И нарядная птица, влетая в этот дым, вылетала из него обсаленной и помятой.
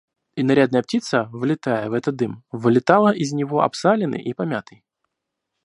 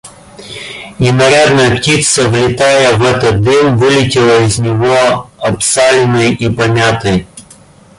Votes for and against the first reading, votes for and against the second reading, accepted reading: 2, 0, 1, 2, first